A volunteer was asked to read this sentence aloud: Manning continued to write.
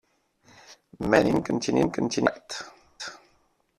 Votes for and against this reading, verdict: 0, 2, rejected